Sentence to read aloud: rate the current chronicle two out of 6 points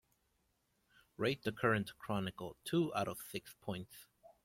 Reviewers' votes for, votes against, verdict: 0, 2, rejected